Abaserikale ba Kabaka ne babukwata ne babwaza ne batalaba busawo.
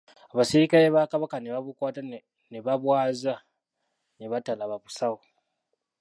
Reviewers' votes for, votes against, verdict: 0, 2, rejected